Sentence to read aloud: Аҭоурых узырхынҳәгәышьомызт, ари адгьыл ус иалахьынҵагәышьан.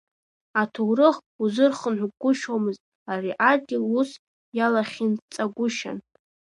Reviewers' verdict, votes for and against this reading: rejected, 1, 2